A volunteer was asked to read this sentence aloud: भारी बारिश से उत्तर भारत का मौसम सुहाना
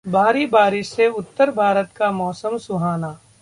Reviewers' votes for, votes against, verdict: 2, 0, accepted